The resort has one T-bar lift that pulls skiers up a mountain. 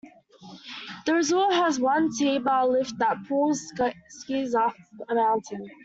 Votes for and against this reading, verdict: 0, 2, rejected